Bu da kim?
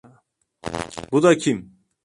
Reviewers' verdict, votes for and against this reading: accepted, 2, 1